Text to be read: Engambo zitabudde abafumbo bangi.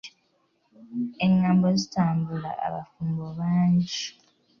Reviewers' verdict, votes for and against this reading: rejected, 0, 2